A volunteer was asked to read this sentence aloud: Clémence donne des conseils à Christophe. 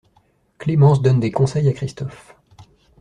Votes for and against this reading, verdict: 2, 0, accepted